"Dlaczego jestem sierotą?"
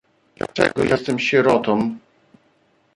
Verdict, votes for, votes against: rejected, 1, 2